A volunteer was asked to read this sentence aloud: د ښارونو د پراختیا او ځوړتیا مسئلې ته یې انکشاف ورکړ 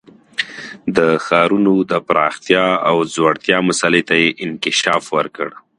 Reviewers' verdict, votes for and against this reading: accepted, 2, 1